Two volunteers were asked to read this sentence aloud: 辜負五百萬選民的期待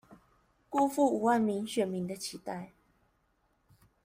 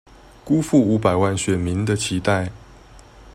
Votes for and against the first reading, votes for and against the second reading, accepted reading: 0, 2, 2, 0, second